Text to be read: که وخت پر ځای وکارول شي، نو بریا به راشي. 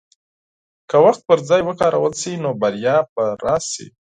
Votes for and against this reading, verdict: 4, 0, accepted